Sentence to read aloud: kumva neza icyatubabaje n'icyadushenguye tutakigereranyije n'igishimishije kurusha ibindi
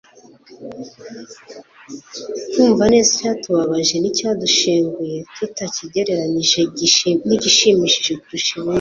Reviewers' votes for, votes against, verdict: 0, 2, rejected